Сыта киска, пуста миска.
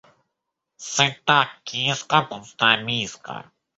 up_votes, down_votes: 1, 2